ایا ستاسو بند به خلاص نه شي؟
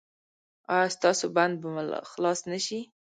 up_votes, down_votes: 1, 2